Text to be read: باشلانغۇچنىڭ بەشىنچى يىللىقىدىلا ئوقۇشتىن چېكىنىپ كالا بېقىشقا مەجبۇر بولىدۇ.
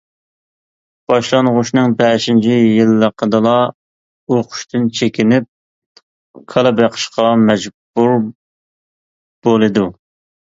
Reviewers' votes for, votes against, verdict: 0, 2, rejected